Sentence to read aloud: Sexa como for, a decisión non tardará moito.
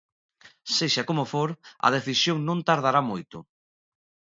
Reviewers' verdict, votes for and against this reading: accepted, 2, 0